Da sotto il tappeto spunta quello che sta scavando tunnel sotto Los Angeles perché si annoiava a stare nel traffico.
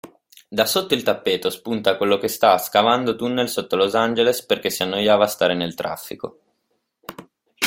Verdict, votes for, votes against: accepted, 2, 1